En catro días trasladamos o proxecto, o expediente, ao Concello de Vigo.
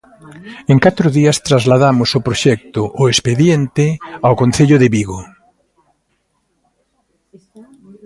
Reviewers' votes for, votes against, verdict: 2, 0, accepted